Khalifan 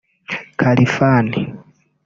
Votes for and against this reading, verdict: 2, 3, rejected